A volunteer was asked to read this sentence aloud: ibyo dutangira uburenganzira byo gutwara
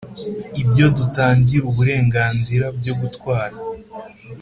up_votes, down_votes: 4, 0